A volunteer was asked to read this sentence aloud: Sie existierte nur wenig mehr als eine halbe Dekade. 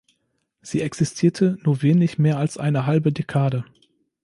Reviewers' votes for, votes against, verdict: 2, 0, accepted